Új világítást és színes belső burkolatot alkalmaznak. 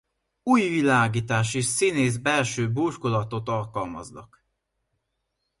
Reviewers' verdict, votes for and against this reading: rejected, 0, 2